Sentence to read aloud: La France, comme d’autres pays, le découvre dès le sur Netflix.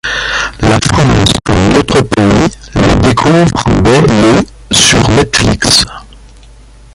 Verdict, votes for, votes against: rejected, 1, 2